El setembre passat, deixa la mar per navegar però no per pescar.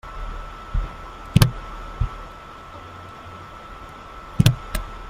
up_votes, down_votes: 0, 2